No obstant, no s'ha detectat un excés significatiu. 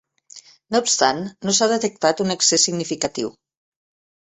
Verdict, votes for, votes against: accepted, 2, 0